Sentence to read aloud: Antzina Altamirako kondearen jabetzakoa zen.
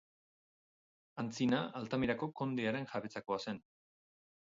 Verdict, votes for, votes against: rejected, 2, 2